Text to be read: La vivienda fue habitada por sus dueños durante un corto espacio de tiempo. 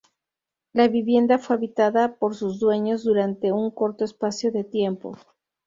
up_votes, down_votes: 0, 2